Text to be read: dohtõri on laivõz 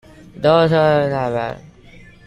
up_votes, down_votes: 0, 2